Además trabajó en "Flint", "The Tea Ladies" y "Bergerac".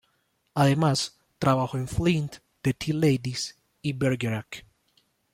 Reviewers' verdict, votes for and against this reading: accepted, 2, 0